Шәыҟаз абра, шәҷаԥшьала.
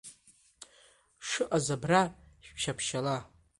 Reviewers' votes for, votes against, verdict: 1, 2, rejected